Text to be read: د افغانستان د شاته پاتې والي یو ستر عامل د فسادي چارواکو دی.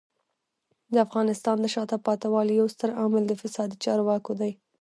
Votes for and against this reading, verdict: 1, 2, rejected